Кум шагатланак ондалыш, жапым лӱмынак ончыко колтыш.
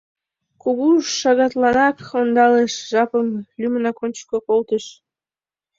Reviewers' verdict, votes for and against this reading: rejected, 1, 2